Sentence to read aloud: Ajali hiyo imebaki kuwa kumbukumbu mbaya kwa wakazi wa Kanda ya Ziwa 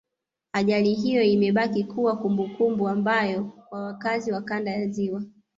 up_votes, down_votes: 1, 2